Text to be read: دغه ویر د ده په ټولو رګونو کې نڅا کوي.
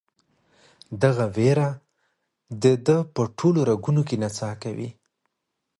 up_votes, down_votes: 0, 2